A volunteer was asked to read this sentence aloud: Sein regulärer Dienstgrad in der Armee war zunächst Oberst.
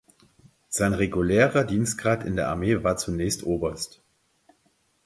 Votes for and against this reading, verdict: 4, 0, accepted